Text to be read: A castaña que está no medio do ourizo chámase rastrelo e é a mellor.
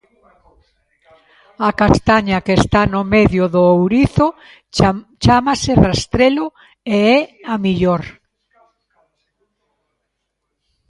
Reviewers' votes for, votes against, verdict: 0, 2, rejected